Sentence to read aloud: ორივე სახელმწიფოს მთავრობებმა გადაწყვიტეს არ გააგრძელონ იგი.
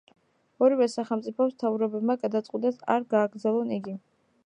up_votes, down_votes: 1, 2